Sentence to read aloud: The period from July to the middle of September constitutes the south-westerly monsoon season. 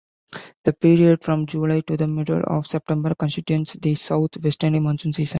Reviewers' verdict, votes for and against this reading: rejected, 0, 2